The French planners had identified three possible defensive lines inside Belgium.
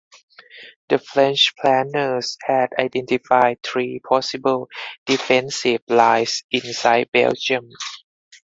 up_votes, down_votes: 0, 4